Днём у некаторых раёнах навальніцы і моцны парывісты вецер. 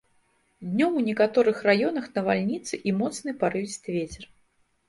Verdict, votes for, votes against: accepted, 2, 0